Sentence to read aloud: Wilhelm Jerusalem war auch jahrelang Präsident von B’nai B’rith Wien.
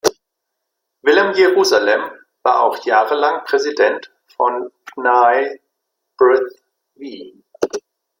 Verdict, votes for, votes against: rejected, 1, 2